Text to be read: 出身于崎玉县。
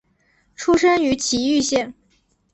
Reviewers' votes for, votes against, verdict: 4, 0, accepted